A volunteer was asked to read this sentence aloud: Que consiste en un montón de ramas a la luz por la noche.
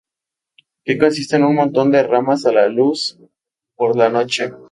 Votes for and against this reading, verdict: 2, 0, accepted